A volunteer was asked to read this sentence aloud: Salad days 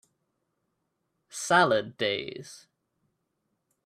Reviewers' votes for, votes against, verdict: 2, 0, accepted